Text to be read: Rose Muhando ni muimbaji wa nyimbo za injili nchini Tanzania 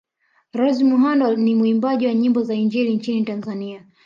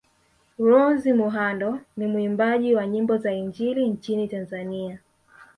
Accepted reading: second